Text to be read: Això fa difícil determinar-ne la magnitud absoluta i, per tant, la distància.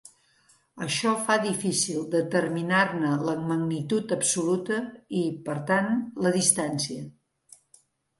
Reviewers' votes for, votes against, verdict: 3, 0, accepted